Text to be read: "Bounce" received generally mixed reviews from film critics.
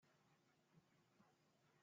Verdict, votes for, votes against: rejected, 0, 2